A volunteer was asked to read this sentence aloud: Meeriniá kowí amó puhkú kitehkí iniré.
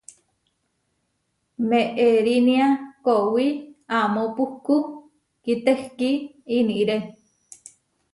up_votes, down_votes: 0, 2